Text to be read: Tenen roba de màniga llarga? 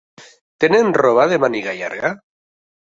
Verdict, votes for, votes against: accepted, 3, 0